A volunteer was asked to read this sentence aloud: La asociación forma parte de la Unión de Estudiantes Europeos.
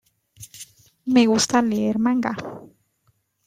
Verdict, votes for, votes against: rejected, 0, 2